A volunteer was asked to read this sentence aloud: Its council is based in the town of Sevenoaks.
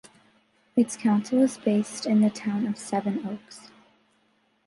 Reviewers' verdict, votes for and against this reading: accepted, 2, 1